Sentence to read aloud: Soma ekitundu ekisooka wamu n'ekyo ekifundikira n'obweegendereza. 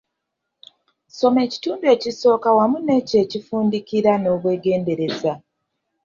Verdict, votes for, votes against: accepted, 2, 0